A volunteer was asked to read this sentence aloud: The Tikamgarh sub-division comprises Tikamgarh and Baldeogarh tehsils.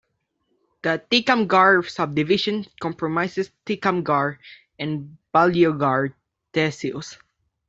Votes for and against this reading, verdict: 1, 2, rejected